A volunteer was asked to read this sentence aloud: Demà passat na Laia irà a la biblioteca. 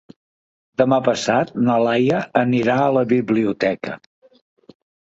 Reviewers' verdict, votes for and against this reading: rejected, 0, 2